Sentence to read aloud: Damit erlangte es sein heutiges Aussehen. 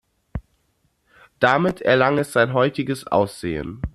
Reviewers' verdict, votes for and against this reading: rejected, 0, 2